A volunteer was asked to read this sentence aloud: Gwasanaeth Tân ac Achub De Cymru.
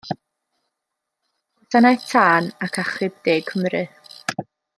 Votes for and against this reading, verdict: 1, 2, rejected